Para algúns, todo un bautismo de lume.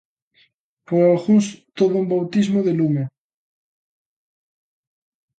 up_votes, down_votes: 2, 0